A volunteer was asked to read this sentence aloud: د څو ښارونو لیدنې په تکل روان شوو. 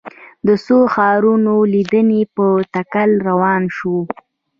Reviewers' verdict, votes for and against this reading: accepted, 2, 0